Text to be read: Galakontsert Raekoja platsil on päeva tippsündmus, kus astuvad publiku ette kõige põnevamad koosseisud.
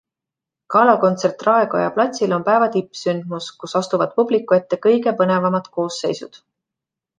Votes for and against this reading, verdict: 2, 0, accepted